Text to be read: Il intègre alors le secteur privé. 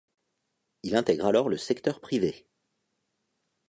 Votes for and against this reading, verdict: 2, 0, accepted